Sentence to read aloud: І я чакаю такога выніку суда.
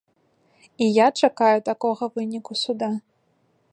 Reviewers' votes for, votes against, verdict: 2, 0, accepted